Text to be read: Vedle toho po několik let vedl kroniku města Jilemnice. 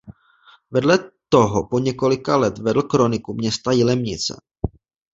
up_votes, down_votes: 0, 2